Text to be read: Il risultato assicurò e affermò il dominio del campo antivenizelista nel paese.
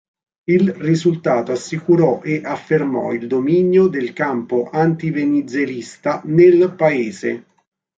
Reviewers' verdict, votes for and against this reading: rejected, 1, 2